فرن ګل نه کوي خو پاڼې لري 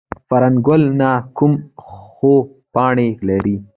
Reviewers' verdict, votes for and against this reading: accepted, 3, 2